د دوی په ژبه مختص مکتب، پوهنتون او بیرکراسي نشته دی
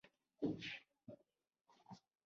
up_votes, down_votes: 1, 3